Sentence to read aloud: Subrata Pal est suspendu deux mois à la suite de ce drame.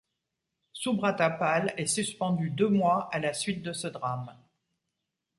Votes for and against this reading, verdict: 2, 0, accepted